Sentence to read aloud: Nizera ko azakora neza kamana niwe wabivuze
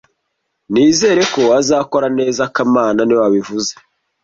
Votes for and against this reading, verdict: 1, 2, rejected